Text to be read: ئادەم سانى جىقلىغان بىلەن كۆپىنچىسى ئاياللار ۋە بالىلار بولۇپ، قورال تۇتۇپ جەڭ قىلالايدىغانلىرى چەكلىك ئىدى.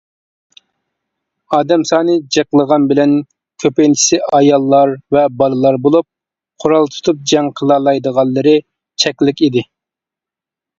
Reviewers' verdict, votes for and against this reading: accepted, 2, 0